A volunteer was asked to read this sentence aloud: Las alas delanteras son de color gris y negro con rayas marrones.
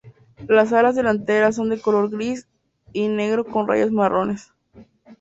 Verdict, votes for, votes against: accepted, 2, 0